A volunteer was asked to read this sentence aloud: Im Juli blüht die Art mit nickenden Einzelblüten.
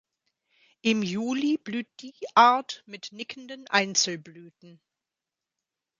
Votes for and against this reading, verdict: 2, 0, accepted